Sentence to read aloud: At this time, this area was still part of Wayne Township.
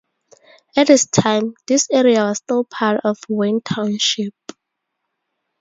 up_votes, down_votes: 0, 2